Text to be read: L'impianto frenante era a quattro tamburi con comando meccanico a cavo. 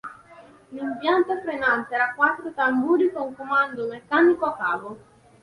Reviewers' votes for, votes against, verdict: 2, 0, accepted